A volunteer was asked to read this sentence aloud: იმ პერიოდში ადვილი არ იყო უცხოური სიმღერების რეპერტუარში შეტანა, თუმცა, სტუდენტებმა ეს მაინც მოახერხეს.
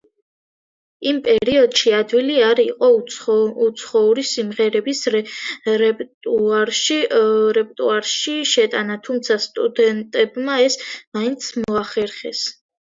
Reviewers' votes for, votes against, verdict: 1, 2, rejected